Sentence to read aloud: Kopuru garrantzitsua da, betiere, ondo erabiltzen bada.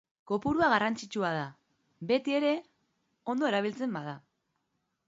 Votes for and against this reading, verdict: 1, 2, rejected